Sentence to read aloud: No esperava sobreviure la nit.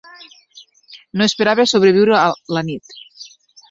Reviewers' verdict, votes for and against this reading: rejected, 0, 2